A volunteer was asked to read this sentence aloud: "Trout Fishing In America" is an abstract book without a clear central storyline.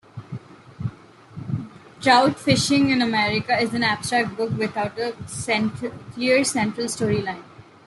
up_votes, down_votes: 0, 2